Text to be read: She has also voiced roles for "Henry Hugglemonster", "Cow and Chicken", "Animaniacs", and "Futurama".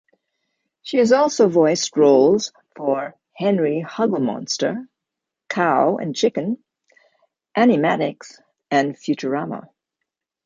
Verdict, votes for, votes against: rejected, 1, 2